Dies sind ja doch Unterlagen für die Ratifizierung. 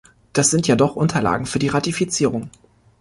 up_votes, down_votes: 2, 0